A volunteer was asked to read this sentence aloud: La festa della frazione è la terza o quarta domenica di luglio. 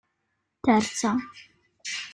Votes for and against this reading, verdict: 0, 3, rejected